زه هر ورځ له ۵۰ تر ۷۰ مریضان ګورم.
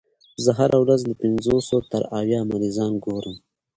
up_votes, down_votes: 0, 2